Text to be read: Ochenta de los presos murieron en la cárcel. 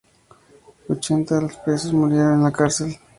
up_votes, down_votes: 4, 0